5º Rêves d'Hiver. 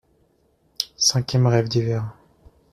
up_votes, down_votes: 0, 2